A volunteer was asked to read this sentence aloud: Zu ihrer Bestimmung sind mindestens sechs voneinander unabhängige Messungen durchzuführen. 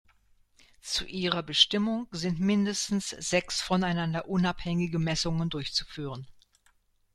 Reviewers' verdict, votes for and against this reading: accepted, 2, 0